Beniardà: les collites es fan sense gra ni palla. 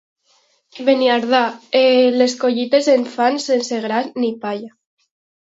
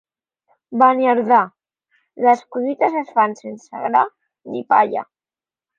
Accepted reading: second